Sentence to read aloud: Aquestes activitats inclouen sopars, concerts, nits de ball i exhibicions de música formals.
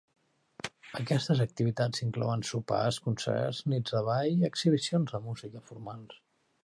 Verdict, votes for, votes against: accepted, 2, 0